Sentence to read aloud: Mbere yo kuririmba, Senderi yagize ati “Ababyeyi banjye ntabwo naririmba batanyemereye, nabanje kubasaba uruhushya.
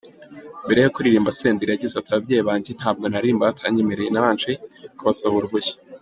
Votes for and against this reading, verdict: 2, 0, accepted